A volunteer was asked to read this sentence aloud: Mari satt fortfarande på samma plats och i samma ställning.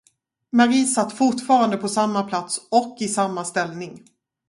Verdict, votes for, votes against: rejected, 0, 2